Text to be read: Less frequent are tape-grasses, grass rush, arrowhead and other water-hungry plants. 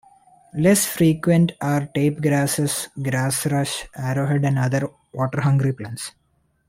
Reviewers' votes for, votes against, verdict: 2, 0, accepted